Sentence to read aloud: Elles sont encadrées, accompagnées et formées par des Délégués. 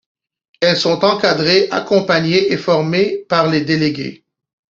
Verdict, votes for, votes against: rejected, 0, 2